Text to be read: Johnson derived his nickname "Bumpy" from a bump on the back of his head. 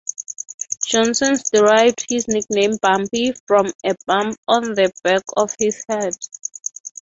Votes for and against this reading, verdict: 3, 0, accepted